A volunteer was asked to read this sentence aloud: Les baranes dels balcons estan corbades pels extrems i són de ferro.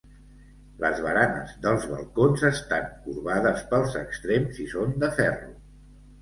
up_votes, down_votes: 2, 0